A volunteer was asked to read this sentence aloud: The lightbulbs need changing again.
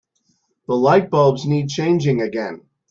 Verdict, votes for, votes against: accepted, 2, 0